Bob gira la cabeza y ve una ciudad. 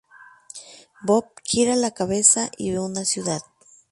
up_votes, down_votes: 2, 0